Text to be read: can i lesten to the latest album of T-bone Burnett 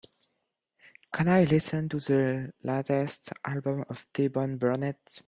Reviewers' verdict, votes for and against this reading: accepted, 2, 1